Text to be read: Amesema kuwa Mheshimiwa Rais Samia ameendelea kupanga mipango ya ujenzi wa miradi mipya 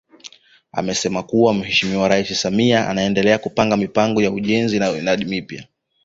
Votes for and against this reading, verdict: 0, 2, rejected